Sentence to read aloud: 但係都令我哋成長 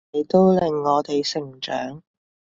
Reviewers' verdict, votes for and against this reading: rejected, 0, 3